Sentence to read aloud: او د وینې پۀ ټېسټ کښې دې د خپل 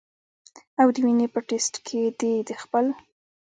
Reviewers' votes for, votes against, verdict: 1, 2, rejected